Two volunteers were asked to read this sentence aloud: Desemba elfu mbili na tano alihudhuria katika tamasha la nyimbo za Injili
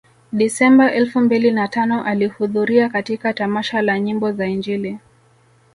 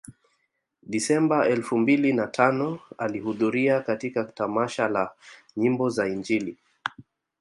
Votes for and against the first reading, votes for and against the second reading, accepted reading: 2, 1, 1, 2, first